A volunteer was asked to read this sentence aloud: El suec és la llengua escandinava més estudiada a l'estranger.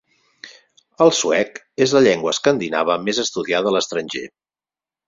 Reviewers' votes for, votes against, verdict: 4, 2, accepted